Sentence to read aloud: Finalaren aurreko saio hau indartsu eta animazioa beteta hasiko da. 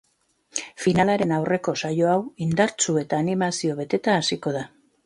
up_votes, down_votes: 1, 2